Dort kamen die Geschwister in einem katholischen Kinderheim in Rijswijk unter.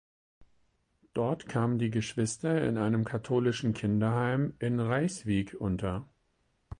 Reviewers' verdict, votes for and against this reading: accepted, 4, 0